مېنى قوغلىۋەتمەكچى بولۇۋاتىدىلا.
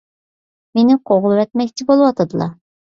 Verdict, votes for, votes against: accepted, 2, 0